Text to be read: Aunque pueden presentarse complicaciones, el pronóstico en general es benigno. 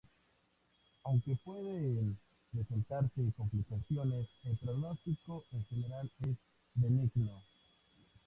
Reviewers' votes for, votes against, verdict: 0, 2, rejected